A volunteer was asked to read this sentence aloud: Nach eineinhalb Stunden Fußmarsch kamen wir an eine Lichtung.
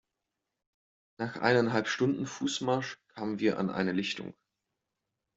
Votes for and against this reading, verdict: 2, 0, accepted